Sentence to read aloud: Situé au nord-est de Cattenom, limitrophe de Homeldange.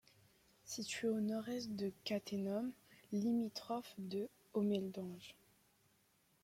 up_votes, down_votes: 1, 2